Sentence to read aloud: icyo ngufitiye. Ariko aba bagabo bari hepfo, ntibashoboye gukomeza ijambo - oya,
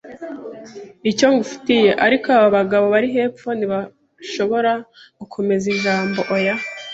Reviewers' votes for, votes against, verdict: 2, 0, accepted